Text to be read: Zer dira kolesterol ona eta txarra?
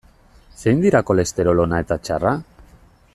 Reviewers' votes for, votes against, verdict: 0, 2, rejected